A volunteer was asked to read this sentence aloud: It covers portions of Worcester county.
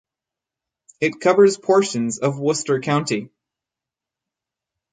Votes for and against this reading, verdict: 4, 0, accepted